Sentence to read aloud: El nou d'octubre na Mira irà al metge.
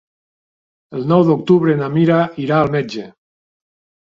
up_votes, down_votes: 2, 0